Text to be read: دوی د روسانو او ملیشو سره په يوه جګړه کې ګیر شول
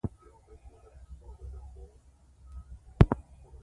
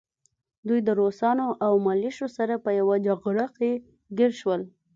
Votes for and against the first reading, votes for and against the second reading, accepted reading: 0, 2, 2, 0, second